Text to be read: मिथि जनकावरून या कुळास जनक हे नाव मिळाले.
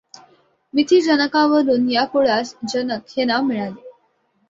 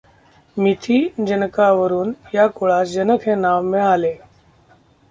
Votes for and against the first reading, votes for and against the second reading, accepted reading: 2, 0, 0, 2, first